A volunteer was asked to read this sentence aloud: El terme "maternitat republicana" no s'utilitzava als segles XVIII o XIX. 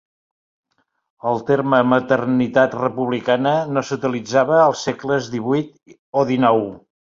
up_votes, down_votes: 3, 0